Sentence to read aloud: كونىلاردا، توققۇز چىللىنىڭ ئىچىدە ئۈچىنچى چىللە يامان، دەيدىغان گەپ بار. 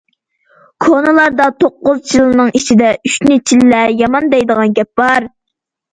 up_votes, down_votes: 0, 2